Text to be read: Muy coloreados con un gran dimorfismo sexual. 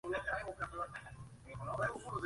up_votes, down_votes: 0, 2